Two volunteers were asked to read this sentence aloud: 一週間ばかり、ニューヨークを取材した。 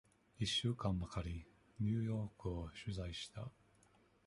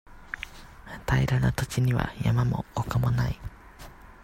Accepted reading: first